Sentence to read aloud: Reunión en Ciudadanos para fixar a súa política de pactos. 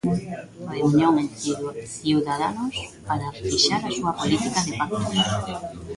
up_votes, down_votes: 0, 2